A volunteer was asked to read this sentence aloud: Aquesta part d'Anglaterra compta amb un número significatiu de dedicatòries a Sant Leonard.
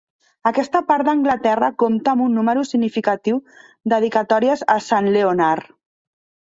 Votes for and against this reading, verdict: 1, 2, rejected